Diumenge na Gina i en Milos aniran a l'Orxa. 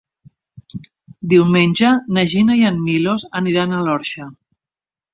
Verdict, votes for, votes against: accepted, 4, 0